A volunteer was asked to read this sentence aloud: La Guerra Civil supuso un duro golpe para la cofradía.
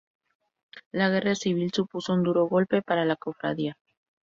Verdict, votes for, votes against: accepted, 4, 0